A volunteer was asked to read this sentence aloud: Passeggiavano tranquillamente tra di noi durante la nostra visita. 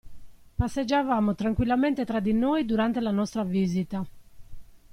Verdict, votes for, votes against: rejected, 0, 2